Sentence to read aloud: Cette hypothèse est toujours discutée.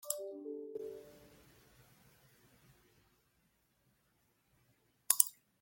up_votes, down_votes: 0, 2